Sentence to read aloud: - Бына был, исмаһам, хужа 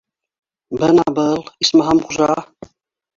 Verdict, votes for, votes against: rejected, 0, 2